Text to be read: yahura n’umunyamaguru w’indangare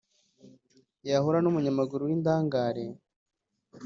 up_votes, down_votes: 1, 2